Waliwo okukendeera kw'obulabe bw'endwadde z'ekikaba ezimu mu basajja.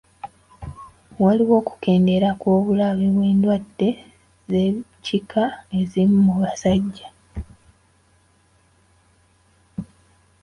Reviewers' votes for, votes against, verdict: 0, 2, rejected